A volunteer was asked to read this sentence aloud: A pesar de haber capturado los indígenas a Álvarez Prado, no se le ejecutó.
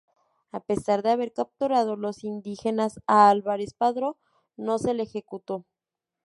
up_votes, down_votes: 0, 2